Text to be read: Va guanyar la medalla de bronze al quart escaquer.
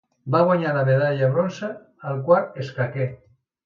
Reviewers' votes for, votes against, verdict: 1, 2, rejected